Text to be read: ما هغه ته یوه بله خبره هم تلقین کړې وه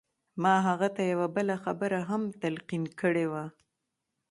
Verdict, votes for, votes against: rejected, 1, 2